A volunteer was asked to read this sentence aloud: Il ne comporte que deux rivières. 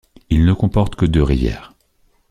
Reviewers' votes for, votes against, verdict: 3, 0, accepted